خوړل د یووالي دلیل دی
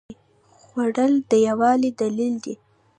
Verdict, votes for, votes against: rejected, 1, 2